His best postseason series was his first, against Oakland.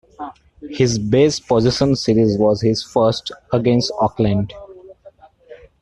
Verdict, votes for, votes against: rejected, 0, 2